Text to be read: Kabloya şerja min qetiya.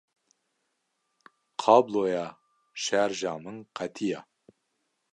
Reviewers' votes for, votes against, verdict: 1, 2, rejected